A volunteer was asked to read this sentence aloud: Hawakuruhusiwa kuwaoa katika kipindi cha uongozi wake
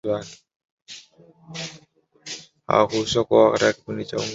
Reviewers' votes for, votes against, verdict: 0, 2, rejected